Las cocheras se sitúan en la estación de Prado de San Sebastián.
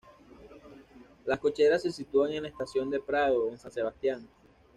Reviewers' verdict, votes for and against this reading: rejected, 1, 2